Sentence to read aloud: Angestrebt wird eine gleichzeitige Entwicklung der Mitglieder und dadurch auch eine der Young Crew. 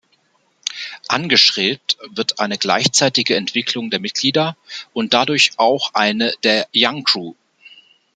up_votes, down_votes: 0, 2